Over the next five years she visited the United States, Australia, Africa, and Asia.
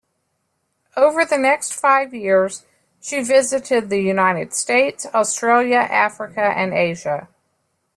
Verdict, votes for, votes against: accepted, 2, 0